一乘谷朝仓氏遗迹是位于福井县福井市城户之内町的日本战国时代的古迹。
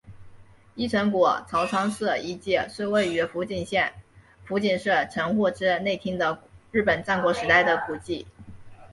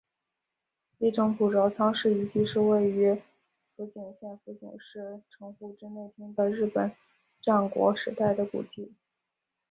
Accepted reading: first